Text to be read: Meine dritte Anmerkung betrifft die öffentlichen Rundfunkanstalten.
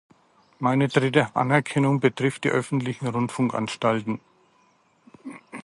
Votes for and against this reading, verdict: 0, 2, rejected